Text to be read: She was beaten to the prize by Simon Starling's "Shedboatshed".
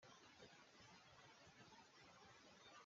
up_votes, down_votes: 0, 2